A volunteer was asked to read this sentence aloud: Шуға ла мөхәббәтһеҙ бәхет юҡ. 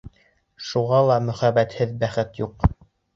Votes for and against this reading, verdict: 2, 0, accepted